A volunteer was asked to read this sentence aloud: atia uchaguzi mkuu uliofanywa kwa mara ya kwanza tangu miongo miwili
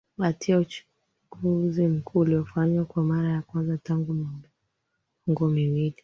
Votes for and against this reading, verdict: 0, 2, rejected